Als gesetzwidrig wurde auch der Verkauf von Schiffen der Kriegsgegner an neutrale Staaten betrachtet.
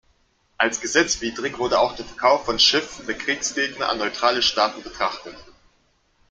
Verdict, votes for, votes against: rejected, 0, 2